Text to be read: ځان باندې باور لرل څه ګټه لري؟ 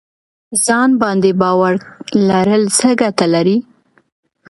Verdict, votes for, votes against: accepted, 2, 0